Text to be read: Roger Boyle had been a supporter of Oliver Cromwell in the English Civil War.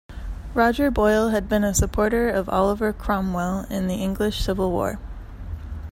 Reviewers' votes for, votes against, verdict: 2, 0, accepted